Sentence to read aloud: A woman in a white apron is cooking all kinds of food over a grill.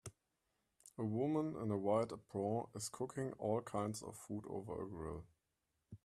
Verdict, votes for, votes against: rejected, 1, 2